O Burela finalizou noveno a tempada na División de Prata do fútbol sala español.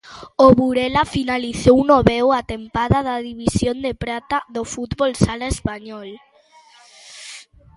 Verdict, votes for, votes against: rejected, 0, 2